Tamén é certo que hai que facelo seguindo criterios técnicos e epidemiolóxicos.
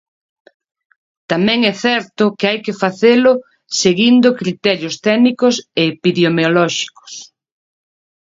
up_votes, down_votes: 0, 2